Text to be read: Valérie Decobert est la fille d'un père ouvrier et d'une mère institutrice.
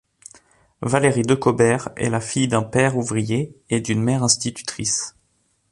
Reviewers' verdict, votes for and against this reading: accepted, 2, 0